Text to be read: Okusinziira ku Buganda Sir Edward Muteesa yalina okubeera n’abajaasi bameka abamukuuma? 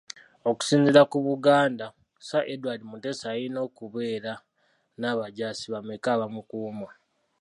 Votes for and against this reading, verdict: 2, 3, rejected